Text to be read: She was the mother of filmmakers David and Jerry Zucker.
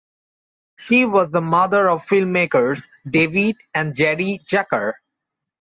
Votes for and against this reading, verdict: 2, 1, accepted